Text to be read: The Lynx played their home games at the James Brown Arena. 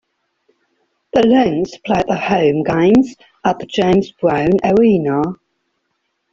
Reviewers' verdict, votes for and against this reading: accepted, 2, 1